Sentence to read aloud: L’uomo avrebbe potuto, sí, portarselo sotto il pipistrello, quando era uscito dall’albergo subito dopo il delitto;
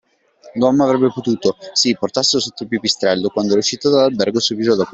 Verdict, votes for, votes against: rejected, 0, 2